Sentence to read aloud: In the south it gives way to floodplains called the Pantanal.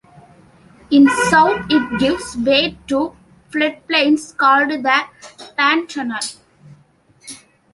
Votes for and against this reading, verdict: 1, 2, rejected